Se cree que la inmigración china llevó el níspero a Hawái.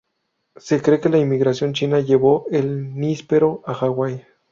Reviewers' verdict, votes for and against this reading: accepted, 4, 0